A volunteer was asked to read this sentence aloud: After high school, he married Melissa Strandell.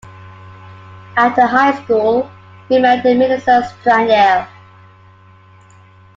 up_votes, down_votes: 0, 2